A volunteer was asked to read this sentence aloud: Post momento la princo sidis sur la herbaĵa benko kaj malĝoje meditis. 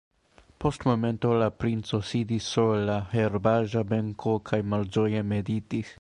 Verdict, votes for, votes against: accepted, 2, 0